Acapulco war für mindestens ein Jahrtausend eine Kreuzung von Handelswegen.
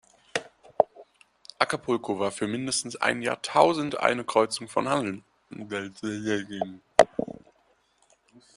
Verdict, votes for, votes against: rejected, 1, 2